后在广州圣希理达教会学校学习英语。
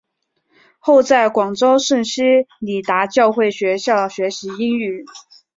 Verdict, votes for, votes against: accepted, 2, 0